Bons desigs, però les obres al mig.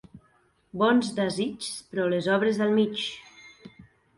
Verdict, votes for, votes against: accepted, 4, 0